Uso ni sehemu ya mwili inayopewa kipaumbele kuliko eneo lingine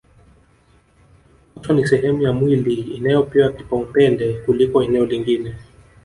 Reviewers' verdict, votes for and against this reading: accepted, 2, 0